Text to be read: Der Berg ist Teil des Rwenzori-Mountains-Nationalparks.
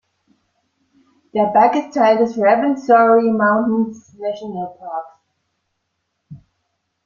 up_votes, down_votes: 1, 2